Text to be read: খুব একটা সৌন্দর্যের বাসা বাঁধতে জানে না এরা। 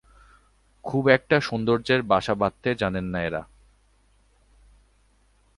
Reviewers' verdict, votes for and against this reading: rejected, 0, 2